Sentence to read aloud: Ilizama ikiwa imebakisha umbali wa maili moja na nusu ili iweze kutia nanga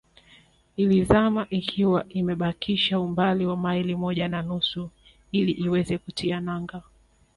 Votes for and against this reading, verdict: 2, 0, accepted